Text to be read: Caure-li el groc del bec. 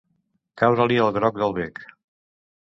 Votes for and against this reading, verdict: 2, 0, accepted